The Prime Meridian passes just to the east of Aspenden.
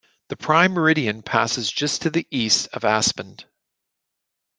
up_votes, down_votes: 2, 0